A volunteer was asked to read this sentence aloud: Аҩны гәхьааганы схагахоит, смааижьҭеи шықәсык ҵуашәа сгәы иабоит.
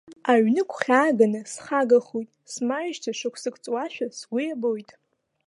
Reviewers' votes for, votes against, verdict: 2, 0, accepted